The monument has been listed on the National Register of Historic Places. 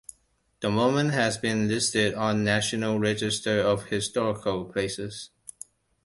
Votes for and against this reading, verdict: 1, 2, rejected